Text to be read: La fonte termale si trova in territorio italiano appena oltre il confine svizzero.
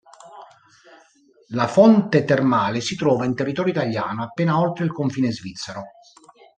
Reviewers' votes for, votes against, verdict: 2, 0, accepted